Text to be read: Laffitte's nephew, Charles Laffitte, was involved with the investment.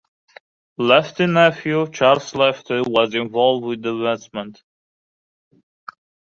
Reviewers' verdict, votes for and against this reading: rejected, 0, 2